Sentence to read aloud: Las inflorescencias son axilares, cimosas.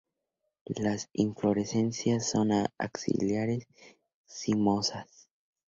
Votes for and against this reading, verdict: 2, 0, accepted